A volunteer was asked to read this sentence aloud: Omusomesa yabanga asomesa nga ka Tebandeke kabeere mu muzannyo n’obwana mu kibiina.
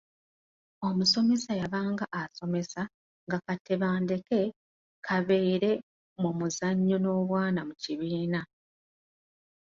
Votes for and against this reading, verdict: 2, 1, accepted